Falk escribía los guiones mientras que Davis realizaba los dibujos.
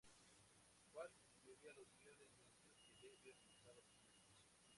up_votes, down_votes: 2, 0